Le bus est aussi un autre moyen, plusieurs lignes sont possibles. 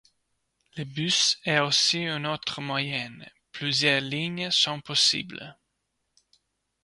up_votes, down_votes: 0, 2